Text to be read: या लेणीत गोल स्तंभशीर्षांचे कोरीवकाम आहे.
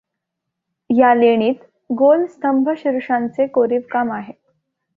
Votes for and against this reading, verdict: 0, 2, rejected